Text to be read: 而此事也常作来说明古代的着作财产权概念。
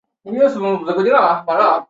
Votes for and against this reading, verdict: 0, 2, rejected